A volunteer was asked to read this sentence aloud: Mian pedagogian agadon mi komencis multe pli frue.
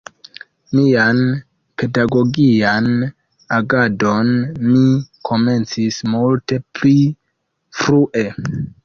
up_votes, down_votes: 2, 1